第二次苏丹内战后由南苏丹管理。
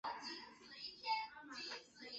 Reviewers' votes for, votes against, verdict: 0, 2, rejected